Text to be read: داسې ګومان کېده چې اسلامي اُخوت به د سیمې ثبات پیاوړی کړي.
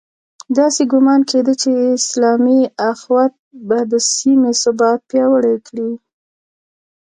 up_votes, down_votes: 2, 0